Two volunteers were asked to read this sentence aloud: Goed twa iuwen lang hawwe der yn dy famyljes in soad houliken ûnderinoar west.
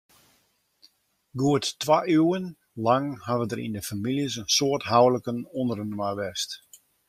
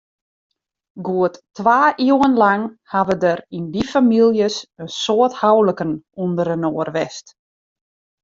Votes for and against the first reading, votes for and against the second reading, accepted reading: 2, 0, 1, 2, first